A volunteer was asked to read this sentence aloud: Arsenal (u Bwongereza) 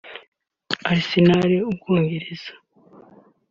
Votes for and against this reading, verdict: 2, 0, accepted